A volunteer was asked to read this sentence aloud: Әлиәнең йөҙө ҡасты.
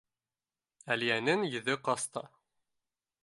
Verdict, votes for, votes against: accepted, 2, 0